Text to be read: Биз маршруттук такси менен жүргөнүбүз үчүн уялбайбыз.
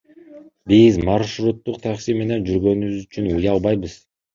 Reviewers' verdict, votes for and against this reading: rejected, 1, 2